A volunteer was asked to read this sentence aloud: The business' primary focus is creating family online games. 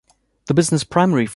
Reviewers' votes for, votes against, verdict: 0, 3, rejected